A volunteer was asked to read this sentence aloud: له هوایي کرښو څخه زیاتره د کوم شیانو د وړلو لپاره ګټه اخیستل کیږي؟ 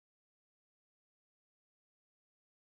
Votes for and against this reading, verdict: 0, 2, rejected